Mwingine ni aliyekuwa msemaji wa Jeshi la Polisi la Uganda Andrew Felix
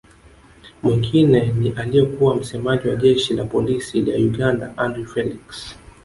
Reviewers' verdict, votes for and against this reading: accepted, 2, 0